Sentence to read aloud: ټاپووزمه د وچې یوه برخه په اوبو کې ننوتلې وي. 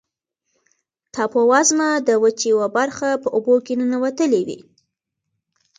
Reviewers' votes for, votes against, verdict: 2, 1, accepted